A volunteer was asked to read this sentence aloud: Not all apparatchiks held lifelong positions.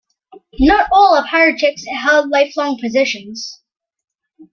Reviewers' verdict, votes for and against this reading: accepted, 2, 0